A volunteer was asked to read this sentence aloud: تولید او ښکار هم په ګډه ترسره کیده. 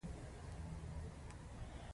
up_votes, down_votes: 1, 2